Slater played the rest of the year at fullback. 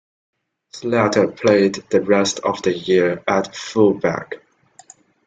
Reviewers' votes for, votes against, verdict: 1, 2, rejected